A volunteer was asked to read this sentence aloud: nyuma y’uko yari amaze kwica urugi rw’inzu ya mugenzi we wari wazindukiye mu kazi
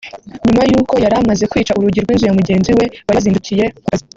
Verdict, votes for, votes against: rejected, 1, 2